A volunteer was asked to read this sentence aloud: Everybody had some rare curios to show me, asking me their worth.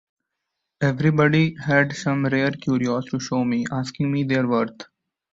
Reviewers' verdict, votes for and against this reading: accepted, 2, 0